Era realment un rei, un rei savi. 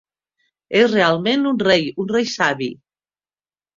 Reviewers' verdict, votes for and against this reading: rejected, 0, 2